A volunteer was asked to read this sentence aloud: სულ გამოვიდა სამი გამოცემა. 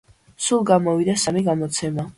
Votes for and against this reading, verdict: 2, 0, accepted